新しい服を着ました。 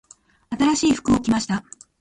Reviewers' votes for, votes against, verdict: 0, 3, rejected